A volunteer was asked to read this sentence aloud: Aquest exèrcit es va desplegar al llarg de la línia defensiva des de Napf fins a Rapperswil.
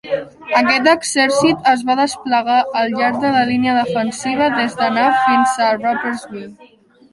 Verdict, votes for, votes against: rejected, 0, 2